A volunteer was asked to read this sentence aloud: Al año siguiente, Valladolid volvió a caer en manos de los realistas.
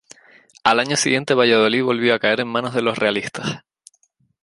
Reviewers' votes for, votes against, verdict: 2, 0, accepted